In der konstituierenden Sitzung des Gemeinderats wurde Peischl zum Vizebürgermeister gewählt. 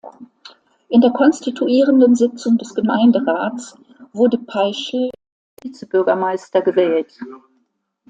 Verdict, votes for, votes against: rejected, 0, 2